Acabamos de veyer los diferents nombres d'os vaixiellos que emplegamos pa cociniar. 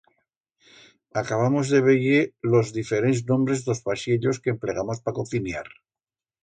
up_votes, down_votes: 2, 0